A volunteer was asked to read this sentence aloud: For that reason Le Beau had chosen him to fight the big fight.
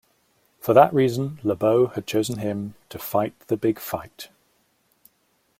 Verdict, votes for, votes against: accepted, 2, 0